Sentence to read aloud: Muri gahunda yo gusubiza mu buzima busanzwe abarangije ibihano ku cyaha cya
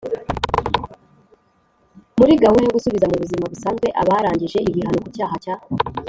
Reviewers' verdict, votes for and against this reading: rejected, 1, 2